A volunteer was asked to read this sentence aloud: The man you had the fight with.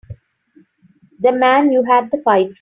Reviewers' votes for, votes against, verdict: 0, 2, rejected